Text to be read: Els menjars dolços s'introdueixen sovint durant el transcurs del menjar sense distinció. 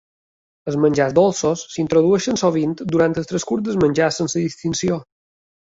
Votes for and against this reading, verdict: 2, 0, accepted